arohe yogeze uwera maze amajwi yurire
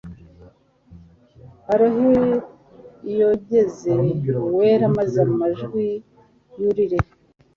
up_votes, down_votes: 2, 0